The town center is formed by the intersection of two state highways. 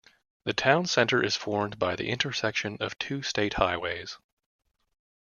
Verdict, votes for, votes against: accepted, 2, 0